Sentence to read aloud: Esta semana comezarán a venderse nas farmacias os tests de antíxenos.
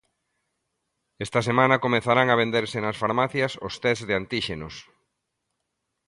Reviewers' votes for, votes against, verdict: 2, 0, accepted